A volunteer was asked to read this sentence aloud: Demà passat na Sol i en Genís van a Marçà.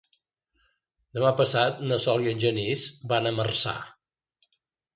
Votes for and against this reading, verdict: 2, 0, accepted